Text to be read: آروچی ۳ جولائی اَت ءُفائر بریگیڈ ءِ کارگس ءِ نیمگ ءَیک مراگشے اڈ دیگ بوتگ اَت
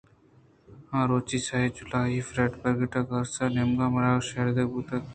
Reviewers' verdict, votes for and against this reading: rejected, 0, 2